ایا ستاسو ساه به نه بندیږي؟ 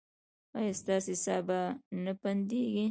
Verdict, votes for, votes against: rejected, 0, 2